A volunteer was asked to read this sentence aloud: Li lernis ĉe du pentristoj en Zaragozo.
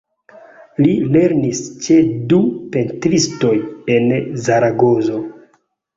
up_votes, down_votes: 2, 0